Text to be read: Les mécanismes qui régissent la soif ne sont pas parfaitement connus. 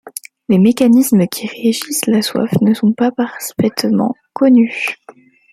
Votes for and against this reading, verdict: 1, 2, rejected